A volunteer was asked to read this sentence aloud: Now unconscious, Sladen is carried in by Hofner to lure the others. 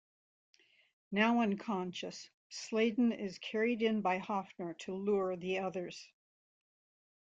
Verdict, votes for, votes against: accepted, 2, 0